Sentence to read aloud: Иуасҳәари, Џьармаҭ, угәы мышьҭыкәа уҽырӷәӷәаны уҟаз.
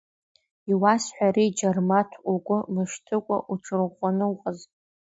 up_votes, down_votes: 2, 1